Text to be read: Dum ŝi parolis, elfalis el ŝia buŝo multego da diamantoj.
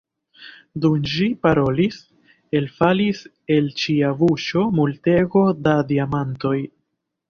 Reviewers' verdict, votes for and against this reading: rejected, 1, 2